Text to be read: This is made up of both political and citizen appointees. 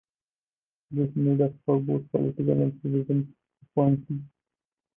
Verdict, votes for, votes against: rejected, 0, 2